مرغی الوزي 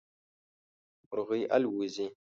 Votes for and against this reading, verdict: 2, 0, accepted